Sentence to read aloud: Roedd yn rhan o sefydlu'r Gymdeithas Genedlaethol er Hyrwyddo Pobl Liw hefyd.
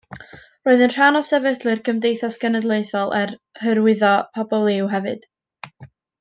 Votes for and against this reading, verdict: 2, 0, accepted